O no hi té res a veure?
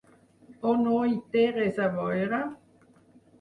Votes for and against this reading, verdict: 0, 4, rejected